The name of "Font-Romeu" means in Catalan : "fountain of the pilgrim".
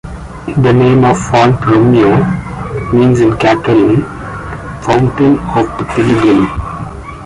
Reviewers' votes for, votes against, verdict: 2, 1, accepted